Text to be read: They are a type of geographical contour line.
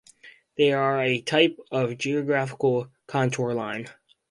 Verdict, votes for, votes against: accepted, 2, 0